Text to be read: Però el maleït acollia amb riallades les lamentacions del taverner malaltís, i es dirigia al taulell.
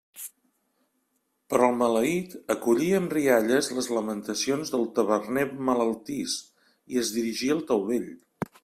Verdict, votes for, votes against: rejected, 0, 2